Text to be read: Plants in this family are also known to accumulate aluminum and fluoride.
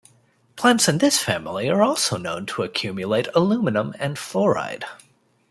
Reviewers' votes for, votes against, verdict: 2, 0, accepted